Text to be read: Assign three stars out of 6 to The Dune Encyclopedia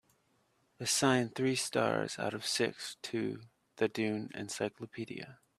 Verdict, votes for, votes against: rejected, 0, 2